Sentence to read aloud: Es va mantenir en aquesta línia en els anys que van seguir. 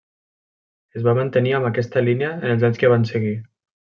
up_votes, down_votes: 2, 0